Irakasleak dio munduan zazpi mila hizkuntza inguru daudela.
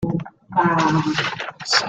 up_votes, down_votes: 0, 2